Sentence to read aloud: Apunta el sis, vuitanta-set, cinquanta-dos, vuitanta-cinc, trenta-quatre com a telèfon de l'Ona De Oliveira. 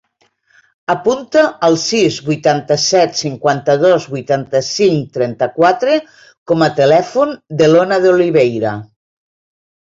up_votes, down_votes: 2, 0